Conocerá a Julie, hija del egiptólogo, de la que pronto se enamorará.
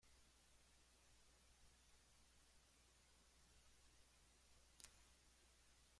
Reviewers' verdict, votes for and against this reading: rejected, 0, 2